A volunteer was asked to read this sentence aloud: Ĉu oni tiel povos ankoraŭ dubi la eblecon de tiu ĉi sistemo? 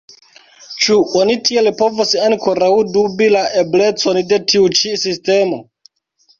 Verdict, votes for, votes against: rejected, 0, 2